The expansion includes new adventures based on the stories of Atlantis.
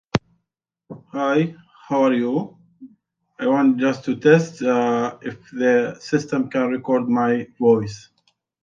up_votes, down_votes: 0, 2